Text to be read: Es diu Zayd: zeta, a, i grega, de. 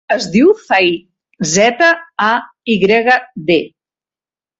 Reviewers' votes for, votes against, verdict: 1, 2, rejected